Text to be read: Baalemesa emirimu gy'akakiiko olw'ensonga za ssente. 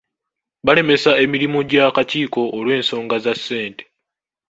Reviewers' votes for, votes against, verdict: 0, 2, rejected